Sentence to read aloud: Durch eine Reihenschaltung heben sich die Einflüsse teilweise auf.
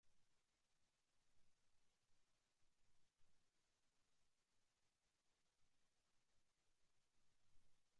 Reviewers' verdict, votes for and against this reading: rejected, 0, 2